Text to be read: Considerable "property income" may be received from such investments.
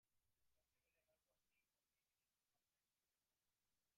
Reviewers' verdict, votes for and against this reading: rejected, 0, 2